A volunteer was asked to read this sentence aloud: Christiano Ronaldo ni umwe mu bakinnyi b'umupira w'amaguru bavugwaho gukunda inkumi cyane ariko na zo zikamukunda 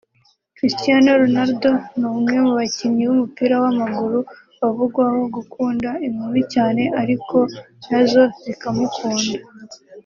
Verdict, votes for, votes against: rejected, 1, 2